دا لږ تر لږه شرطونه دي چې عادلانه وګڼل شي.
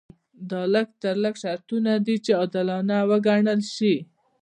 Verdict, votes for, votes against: rejected, 1, 2